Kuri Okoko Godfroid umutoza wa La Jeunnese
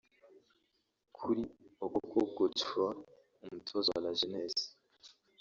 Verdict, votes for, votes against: rejected, 1, 2